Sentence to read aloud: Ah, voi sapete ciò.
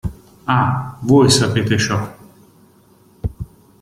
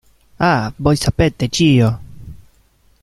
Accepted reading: first